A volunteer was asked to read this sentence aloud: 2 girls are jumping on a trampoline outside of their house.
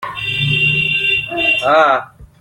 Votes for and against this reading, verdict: 0, 2, rejected